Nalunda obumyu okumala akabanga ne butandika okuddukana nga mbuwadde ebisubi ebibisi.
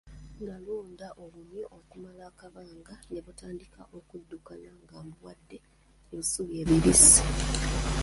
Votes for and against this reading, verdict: 0, 2, rejected